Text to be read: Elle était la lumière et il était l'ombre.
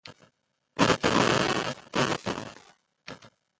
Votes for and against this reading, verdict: 0, 2, rejected